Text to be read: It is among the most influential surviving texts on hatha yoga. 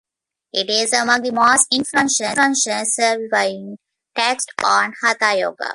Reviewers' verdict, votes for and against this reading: rejected, 0, 2